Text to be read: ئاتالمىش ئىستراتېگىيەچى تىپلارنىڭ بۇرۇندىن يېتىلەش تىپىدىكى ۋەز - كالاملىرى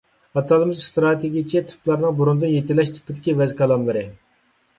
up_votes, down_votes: 2, 0